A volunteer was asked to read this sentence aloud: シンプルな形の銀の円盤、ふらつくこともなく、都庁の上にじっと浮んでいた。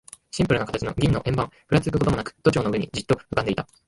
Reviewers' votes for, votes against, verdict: 0, 3, rejected